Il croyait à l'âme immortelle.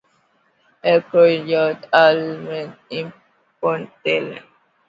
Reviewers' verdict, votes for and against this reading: rejected, 1, 2